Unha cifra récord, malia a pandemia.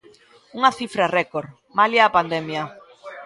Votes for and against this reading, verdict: 2, 0, accepted